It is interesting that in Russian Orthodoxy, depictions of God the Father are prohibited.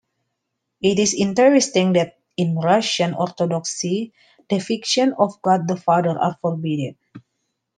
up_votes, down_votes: 1, 2